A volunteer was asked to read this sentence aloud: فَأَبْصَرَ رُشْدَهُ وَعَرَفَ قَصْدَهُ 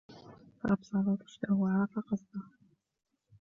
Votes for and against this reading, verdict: 1, 2, rejected